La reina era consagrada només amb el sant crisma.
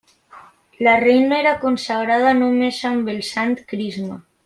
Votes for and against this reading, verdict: 2, 0, accepted